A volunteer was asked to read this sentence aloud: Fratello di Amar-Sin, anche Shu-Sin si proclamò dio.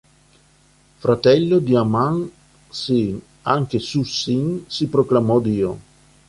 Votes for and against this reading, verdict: 1, 2, rejected